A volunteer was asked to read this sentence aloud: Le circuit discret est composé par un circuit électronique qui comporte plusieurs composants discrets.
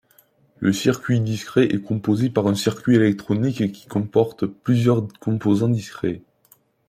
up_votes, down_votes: 2, 0